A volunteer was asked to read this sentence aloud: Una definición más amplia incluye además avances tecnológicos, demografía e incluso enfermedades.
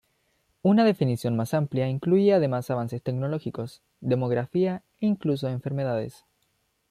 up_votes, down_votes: 2, 0